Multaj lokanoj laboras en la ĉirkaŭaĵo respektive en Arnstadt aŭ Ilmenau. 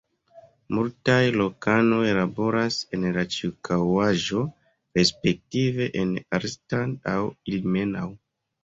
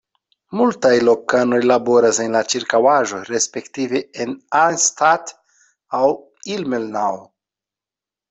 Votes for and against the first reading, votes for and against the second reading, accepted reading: 0, 2, 2, 0, second